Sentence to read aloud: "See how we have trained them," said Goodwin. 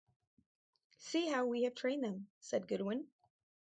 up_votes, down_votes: 2, 0